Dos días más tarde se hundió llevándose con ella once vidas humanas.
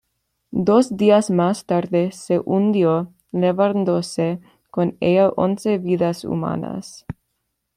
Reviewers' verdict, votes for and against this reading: accepted, 2, 1